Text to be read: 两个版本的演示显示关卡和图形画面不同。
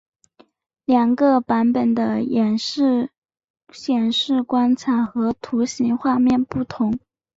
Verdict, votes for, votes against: accepted, 2, 1